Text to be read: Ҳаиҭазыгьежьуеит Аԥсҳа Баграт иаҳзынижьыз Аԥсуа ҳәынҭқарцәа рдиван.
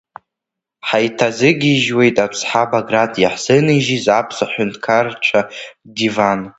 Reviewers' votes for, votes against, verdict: 0, 2, rejected